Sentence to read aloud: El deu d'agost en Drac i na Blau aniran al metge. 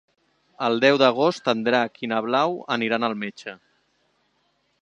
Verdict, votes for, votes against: accepted, 3, 0